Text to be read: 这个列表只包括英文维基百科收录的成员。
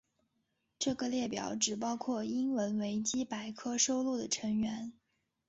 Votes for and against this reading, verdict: 2, 0, accepted